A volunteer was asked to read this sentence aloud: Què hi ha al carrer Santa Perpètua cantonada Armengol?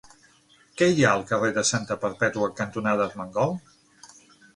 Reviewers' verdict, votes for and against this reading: rejected, 3, 6